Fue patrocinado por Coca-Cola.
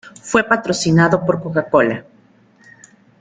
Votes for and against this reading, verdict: 2, 0, accepted